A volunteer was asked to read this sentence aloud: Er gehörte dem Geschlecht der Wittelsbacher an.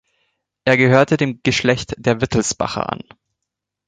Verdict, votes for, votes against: accepted, 2, 0